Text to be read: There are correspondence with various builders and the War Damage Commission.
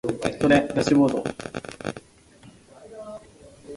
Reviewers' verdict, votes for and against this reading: rejected, 0, 2